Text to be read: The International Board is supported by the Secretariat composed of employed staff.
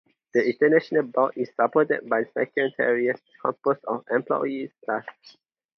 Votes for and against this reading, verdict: 2, 4, rejected